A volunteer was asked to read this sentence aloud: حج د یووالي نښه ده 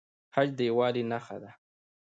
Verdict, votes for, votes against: accepted, 2, 1